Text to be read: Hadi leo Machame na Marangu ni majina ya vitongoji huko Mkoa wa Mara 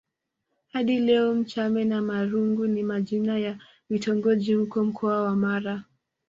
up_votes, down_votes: 0, 2